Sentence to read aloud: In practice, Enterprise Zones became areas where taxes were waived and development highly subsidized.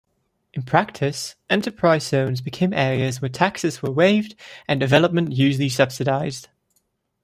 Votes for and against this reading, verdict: 0, 2, rejected